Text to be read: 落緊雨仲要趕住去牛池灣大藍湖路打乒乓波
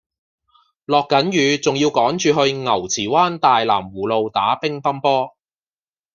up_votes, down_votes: 2, 0